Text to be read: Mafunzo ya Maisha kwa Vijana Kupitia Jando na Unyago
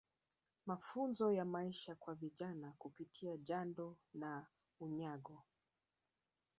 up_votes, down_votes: 1, 2